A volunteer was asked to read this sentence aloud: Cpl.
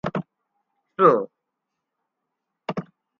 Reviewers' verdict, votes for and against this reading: accepted, 2, 0